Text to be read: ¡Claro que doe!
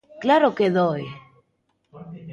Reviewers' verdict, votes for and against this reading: accepted, 2, 0